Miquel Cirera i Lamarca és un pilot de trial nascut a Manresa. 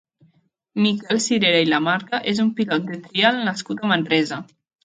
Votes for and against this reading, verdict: 0, 2, rejected